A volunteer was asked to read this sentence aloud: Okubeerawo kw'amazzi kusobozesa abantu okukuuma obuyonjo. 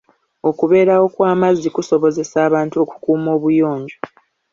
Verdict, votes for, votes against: accepted, 2, 0